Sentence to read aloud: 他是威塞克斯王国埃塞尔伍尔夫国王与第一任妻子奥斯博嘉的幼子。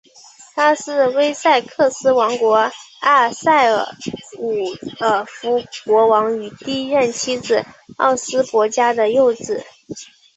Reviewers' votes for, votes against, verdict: 2, 1, accepted